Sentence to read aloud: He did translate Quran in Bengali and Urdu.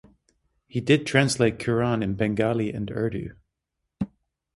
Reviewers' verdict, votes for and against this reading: accepted, 3, 0